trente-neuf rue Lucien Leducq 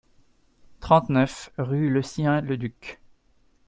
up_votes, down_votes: 0, 2